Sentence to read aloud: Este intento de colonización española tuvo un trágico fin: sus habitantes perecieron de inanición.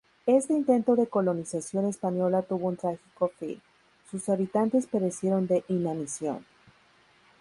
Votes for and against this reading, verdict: 2, 0, accepted